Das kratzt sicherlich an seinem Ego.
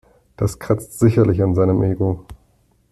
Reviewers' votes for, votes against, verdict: 2, 0, accepted